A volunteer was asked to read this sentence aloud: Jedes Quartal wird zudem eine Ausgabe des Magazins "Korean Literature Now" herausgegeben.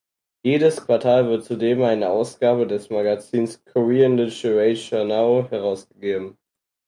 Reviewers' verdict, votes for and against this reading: accepted, 4, 2